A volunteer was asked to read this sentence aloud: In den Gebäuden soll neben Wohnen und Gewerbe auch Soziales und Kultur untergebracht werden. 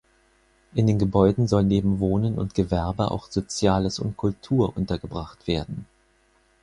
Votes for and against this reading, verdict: 4, 0, accepted